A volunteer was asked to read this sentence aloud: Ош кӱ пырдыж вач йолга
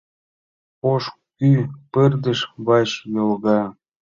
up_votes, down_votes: 2, 0